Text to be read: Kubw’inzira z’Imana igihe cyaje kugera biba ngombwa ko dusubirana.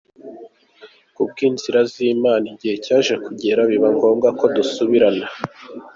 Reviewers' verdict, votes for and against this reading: accepted, 2, 0